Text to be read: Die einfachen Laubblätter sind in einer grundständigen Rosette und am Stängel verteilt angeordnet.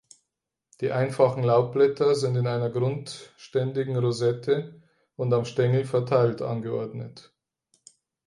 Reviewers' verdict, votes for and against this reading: accepted, 4, 0